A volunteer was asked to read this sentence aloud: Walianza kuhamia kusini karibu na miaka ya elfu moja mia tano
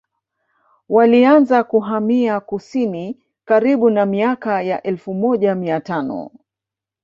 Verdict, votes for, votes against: accepted, 2, 1